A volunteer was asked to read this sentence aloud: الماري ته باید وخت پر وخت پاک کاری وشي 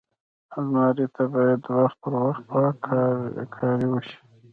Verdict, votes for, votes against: rejected, 0, 2